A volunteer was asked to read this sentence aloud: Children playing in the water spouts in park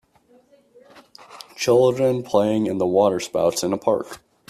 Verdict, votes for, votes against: rejected, 0, 2